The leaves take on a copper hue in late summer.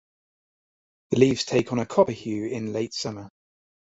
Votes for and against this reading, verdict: 2, 0, accepted